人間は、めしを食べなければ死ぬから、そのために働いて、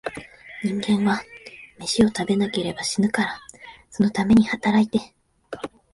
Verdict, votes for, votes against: accepted, 2, 0